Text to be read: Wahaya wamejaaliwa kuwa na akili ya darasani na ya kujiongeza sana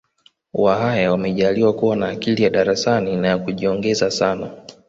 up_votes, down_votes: 2, 0